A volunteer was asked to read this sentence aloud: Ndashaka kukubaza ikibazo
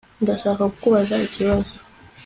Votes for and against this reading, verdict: 2, 0, accepted